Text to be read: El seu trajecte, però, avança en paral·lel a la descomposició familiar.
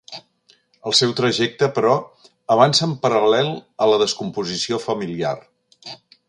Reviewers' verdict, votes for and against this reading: accepted, 3, 0